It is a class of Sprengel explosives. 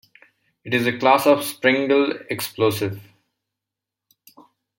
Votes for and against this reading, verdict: 1, 2, rejected